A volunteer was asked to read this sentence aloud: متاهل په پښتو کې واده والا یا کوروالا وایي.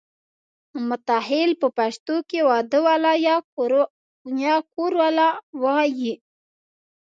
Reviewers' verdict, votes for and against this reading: rejected, 1, 2